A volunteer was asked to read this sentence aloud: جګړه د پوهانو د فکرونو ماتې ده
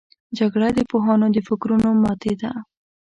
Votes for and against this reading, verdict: 2, 0, accepted